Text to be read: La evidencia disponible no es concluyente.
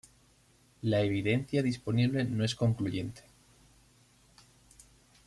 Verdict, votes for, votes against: accepted, 2, 1